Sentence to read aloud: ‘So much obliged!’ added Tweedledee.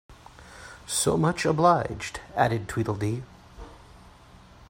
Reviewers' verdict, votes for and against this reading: accepted, 2, 0